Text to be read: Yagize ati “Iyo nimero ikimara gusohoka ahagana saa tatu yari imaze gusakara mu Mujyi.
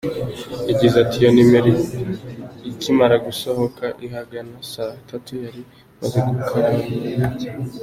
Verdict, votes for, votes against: rejected, 0, 3